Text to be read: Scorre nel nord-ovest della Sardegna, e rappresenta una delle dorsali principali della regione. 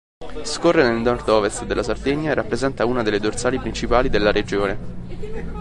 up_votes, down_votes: 1, 2